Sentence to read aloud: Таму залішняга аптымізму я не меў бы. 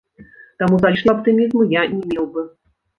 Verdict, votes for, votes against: rejected, 1, 2